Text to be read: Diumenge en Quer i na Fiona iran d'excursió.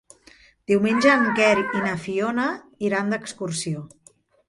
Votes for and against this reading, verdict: 1, 2, rejected